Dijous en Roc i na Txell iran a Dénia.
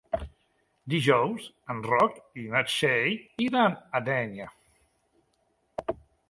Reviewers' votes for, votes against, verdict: 4, 1, accepted